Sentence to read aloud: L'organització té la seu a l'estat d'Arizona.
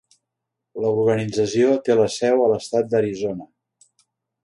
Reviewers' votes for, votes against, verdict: 1, 2, rejected